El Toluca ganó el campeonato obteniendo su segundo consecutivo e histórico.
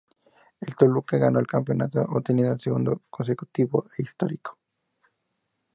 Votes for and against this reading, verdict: 0, 2, rejected